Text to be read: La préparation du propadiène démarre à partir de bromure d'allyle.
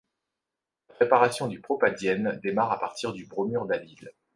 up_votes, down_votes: 1, 2